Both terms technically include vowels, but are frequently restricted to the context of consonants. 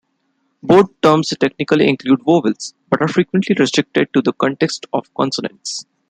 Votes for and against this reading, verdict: 2, 0, accepted